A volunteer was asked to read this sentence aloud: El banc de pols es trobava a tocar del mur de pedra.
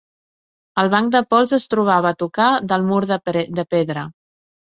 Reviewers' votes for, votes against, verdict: 0, 2, rejected